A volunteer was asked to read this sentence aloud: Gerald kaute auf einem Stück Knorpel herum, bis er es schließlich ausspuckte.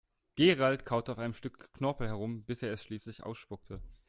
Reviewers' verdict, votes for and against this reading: rejected, 1, 2